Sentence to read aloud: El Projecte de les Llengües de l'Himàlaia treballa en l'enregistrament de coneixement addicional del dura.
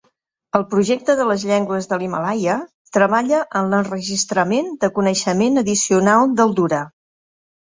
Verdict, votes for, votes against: accepted, 3, 0